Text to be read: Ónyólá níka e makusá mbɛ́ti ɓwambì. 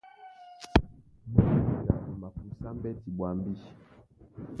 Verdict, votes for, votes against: rejected, 0, 2